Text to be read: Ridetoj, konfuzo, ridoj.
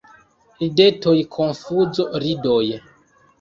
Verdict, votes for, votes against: accepted, 2, 0